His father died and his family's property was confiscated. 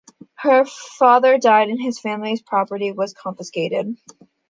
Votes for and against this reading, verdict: 1, 2, rejected